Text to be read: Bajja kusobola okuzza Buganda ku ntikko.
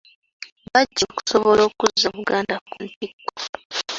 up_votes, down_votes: 1, 2